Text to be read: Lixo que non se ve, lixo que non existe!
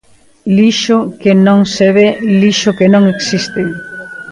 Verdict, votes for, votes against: rejected, 0, 2